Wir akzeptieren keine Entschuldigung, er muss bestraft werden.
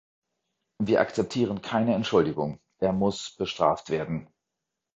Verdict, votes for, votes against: accepted, 2, 0